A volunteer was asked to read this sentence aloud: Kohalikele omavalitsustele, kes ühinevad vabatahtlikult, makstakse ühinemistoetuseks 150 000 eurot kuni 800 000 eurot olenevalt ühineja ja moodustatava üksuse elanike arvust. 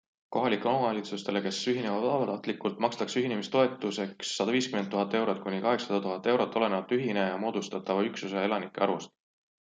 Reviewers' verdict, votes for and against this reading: rejected, 0, 2